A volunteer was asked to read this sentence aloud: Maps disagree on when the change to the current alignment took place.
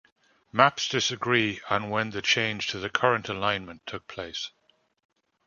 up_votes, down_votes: 2, 0